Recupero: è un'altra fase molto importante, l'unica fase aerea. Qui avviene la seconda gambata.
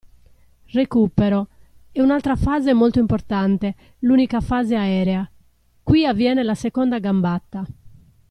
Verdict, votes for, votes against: accepted, 2, 1